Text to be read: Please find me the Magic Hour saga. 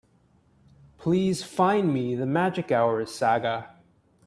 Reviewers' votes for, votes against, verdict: 2, 0, accepted